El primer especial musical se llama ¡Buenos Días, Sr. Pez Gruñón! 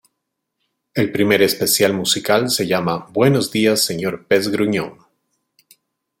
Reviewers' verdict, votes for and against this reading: accepted, 3, 0